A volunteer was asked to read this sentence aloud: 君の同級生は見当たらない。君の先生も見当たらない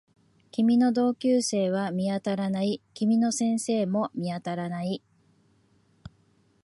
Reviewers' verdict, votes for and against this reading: accepted, 2, 0